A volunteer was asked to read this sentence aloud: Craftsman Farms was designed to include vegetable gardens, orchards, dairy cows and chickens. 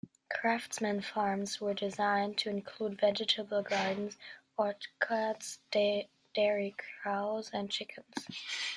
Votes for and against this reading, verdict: 2, 1, accepted